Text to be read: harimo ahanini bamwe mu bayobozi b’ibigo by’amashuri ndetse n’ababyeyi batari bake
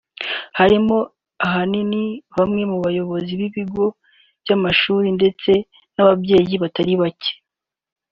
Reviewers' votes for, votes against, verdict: 4, 0, accepted